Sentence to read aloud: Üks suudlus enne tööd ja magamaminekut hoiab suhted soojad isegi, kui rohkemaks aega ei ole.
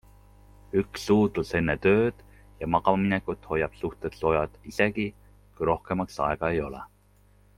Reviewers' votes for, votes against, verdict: 2, 0, accepted